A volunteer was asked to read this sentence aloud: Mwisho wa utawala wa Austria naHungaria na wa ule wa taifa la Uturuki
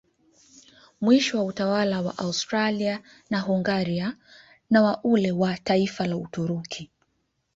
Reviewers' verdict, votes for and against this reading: accepted, 2, 0